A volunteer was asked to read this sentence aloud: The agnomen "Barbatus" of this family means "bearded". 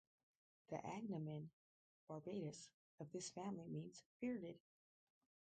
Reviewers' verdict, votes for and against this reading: rejected, 0, 2